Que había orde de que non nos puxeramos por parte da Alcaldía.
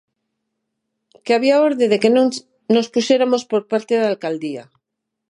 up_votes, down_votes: 0, 6